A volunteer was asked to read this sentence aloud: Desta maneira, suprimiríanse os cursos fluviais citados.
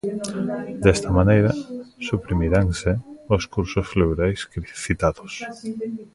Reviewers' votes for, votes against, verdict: 0, 2, rejected